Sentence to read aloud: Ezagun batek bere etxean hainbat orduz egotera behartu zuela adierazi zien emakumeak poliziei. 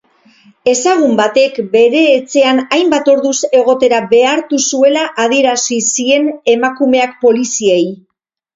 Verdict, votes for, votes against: accepted, 4, 0